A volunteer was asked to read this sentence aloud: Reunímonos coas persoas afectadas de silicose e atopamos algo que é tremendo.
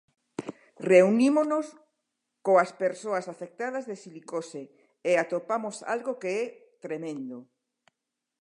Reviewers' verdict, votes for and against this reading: accepted, 2, 0